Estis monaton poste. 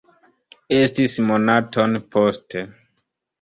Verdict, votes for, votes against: rejected, 0, 2